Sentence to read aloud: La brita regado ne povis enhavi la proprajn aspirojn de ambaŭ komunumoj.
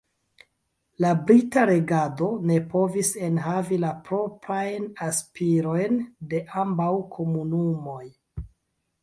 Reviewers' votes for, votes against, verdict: 0, 2, rejected